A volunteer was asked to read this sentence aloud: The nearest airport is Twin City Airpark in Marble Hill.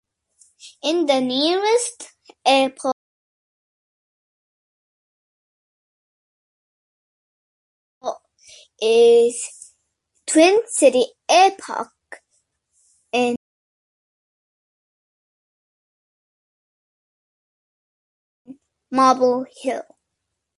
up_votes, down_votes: 0, 2